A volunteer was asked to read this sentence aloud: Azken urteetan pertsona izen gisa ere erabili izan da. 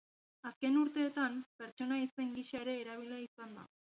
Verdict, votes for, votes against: accepted, 2, 0